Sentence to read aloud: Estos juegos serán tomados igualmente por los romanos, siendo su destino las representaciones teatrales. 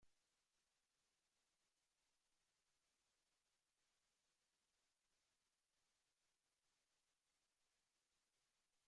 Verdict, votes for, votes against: rejected, 0, 2